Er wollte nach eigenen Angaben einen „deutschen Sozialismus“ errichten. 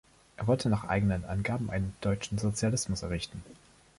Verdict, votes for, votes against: rejected, 1, 2